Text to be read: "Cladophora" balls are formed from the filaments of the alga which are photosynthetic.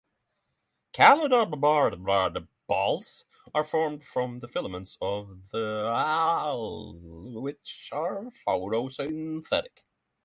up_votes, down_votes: 0, 3